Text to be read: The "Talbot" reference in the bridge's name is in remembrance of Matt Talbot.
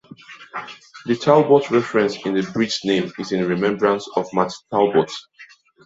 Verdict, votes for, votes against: rejected, 1, 2